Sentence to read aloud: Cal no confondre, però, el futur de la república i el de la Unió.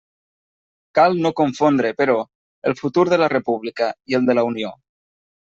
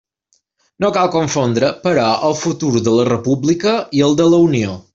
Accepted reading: first